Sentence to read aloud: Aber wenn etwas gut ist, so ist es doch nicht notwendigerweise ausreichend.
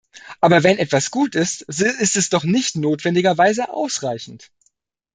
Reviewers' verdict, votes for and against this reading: rejected, 1, 2